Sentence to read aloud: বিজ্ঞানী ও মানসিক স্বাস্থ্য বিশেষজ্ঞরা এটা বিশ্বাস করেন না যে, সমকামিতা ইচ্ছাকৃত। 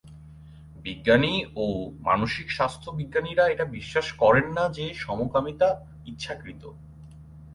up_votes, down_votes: 2, 6